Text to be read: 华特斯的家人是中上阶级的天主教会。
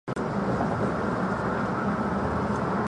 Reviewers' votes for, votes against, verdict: 0, 3, rejected